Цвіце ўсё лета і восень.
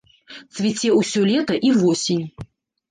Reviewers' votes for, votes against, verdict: 1, 2, rejected